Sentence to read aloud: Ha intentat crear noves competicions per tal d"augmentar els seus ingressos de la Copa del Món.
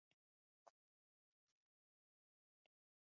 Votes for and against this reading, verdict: 0, 2, rejected